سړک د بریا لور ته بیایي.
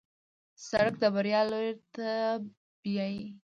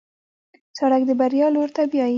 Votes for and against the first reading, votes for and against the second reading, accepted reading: 0, 2, 2, 0, second